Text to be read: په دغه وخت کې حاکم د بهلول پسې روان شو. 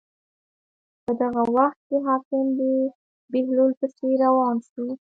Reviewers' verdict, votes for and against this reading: rejected, 1, 2